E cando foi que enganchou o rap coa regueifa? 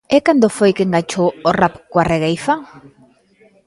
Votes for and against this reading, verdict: 1, 2, rejected